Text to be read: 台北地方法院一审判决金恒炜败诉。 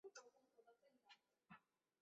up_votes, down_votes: 3, 4